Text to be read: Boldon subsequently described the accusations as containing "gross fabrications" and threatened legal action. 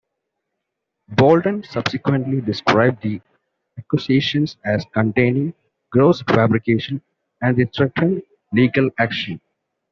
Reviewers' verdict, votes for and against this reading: rejected, 0, 2